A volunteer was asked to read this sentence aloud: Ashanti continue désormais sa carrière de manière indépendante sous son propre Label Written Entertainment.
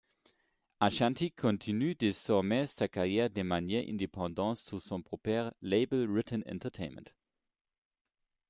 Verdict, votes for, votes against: accepted, 2, 0